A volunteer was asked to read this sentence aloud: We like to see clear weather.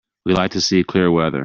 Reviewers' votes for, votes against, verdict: 2, 0, accepted